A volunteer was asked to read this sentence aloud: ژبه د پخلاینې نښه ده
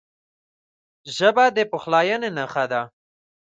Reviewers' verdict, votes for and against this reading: rejected, 1, 2